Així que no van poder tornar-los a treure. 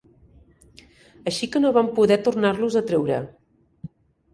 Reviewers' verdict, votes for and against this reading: accepted, 3, 0